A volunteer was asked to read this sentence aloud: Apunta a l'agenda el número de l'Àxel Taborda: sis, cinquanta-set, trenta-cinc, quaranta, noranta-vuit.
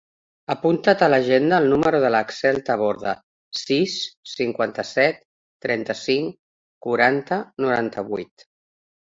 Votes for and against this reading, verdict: 0, 2, rejected